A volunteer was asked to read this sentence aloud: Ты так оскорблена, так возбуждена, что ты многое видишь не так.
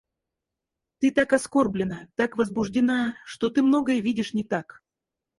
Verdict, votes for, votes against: rejected, 0, 4